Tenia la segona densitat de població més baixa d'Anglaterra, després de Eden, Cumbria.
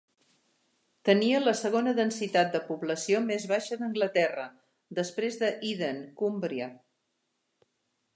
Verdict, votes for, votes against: accepted, 3, 0